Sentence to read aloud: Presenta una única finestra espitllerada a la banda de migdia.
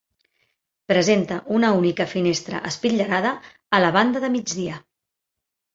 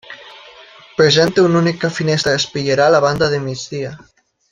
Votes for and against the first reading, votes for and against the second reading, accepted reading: 2, 0, 0, 2, first